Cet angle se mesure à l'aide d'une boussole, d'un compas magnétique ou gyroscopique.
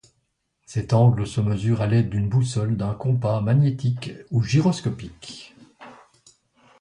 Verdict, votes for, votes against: accepted, 2, 0